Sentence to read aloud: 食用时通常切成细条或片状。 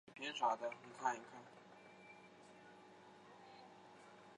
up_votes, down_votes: 0, 2